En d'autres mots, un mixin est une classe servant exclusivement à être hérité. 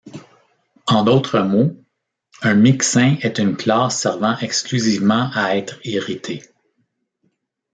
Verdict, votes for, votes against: accepted, 2, 1